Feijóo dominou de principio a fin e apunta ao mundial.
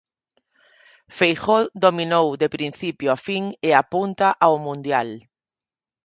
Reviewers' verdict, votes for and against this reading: accepted, 4, 0